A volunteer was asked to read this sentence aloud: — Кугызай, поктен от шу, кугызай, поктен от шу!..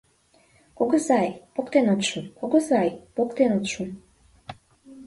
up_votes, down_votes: 2, 3